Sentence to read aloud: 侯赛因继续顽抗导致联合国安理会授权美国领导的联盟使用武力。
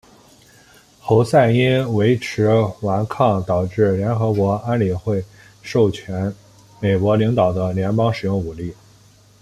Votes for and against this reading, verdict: 1, 2, rejected